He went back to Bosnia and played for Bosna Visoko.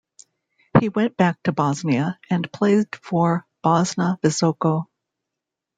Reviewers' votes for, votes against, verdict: 3, 0, accepted